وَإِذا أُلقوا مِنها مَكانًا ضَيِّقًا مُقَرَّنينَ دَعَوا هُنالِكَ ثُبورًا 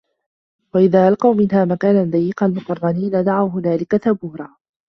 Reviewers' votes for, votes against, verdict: 1, 2, rejected